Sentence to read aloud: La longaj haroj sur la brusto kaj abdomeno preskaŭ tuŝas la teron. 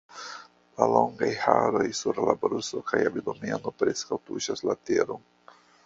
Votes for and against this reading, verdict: 1, 2, rejected